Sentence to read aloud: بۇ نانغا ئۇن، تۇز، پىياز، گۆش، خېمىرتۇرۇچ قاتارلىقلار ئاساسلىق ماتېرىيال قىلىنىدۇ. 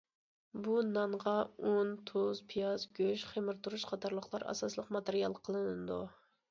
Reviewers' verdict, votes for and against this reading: accepted, 2, 0